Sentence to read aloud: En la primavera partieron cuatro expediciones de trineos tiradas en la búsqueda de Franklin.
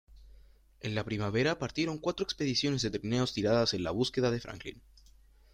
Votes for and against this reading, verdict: 0, 2, rejected